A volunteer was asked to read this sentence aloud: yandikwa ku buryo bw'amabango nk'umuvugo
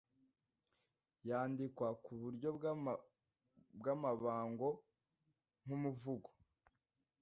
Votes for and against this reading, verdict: 1, 2, rejected